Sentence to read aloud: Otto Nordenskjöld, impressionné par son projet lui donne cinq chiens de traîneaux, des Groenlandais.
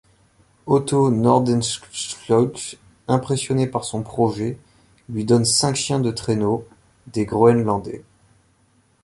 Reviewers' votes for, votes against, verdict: 1, 2, rejected